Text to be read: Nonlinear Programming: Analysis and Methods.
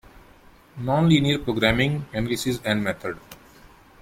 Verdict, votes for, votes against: rejected, 1, 2